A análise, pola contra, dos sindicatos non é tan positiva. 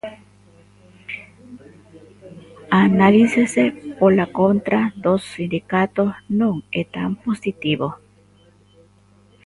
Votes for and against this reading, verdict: 0, 2, rejected